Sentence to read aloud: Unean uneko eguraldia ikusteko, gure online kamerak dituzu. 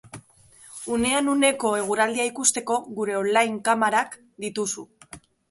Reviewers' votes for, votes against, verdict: 1, 2, rejected